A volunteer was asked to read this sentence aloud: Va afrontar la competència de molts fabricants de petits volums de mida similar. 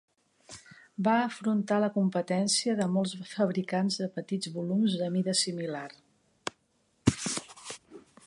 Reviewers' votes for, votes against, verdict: 3, 0, accepted